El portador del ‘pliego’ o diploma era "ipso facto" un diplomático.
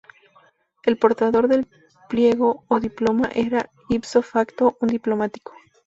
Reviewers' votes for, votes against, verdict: 4, 0, accepted